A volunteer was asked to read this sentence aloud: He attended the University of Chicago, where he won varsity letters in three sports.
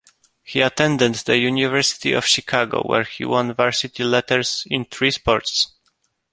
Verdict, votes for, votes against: rejected, 1, 2